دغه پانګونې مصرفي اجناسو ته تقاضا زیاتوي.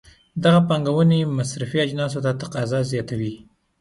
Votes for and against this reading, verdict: 2, 0, accepted